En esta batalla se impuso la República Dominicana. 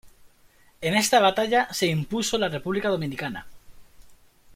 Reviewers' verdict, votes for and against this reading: accepted, 2, 0